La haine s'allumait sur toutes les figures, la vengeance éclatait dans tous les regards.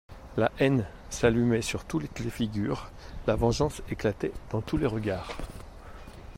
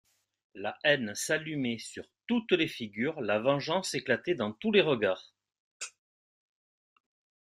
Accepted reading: second